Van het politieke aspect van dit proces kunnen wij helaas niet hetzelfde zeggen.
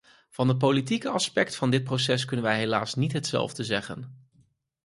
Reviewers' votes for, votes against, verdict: 4, 0, accepted